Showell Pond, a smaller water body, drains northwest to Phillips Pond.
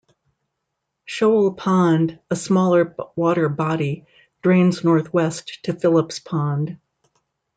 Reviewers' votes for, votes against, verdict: 0, 2, rejected